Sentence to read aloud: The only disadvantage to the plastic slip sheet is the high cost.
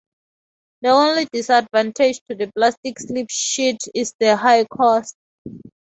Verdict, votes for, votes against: accepted, 12, 2